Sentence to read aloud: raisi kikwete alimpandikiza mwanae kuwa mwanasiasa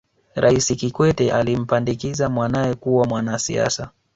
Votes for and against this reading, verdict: 2, 1, accepted